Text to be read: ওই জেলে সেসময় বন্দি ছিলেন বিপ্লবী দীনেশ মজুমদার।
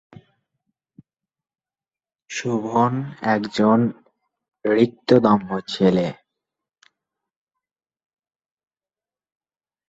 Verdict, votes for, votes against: rejected, 0, 2